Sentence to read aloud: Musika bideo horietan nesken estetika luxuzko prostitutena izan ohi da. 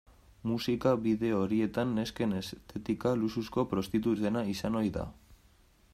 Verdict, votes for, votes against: rejected, 0, 2